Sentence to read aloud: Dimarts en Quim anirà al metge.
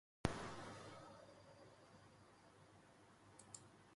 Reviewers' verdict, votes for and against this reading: rejected, 0, 4